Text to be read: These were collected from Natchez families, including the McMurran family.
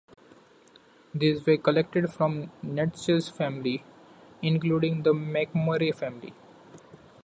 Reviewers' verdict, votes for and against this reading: accepted, 2, 1